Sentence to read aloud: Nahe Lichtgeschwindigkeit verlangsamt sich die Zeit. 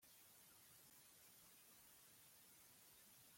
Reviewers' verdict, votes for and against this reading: rejected, 0, 2